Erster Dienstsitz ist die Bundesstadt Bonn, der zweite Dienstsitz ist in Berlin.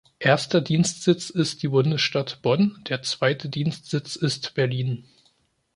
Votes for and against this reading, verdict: 0, 2, rejected